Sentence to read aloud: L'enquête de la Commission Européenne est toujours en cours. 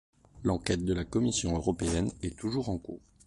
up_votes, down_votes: 2, 0